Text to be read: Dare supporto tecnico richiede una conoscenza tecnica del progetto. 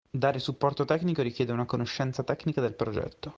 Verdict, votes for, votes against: accepted, 2, 0